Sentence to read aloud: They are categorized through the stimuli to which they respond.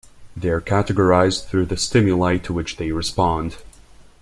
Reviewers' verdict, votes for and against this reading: accepted, 2, 0